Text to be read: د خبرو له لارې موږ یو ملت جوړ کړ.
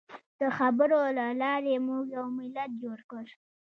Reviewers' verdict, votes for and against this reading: rejected, 0, 2